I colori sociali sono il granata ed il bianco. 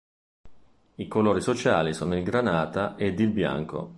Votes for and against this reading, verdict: 2, 0, accepted